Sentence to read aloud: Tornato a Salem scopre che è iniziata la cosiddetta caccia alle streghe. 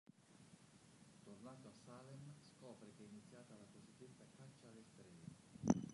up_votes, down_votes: 1, 3